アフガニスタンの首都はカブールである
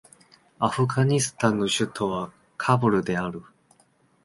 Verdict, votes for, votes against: rejected, 1, 2